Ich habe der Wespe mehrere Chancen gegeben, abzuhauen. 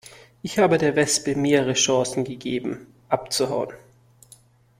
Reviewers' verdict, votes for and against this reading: accepted, 2, 0